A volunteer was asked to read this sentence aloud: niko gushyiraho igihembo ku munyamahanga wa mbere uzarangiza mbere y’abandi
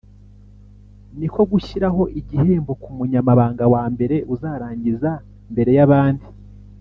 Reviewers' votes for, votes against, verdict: 1, 2, rejected